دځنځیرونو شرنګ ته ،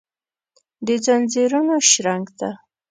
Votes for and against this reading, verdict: 2, 0, accepted